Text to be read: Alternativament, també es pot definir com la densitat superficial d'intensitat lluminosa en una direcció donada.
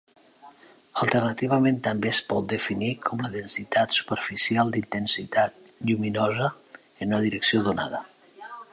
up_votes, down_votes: 3, 0